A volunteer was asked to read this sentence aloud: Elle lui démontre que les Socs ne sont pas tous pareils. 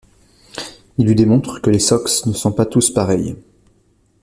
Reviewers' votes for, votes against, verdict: 1, 2, rejected